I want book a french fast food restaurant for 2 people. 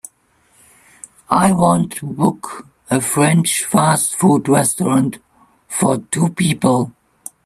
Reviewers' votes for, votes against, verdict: 0, 2, rejected